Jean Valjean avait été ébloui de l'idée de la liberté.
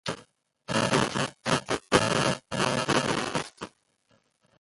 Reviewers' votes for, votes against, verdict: 0, 2, rejected